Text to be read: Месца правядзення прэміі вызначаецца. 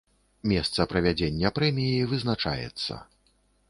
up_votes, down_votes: 3, 0